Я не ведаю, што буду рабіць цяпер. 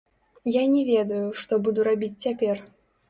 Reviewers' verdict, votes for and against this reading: rejected, 1, 3